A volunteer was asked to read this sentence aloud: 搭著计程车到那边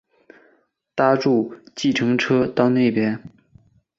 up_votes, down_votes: 4, 0